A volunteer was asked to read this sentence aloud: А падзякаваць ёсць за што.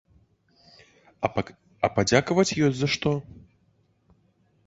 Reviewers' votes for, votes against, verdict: 0, 2, rejected